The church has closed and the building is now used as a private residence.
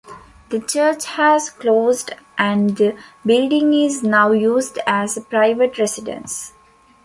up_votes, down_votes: 2, 0